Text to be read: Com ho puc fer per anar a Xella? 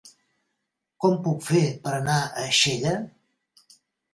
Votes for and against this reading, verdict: 0, 2, rejected